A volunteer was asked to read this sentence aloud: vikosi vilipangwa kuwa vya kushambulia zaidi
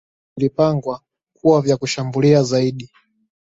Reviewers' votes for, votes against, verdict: 0, 2, rejected